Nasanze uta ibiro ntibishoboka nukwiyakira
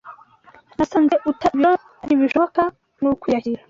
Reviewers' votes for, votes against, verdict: 1, 2, rejected